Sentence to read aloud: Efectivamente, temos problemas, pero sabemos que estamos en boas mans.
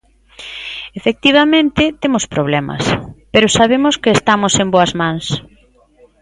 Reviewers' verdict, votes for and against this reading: accepted, 3, 0